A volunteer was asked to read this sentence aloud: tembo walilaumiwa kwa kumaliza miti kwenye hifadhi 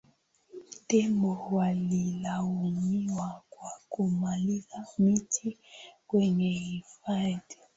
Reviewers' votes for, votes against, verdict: 2, 0, accepted